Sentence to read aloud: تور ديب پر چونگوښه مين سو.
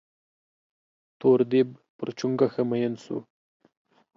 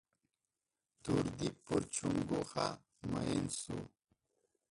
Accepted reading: first